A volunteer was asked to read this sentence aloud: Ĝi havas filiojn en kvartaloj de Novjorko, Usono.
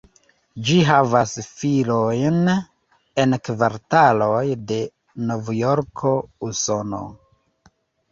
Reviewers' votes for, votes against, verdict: 0, 3, rejected